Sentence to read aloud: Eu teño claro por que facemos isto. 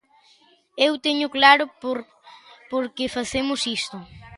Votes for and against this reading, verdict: 1, 2, rejected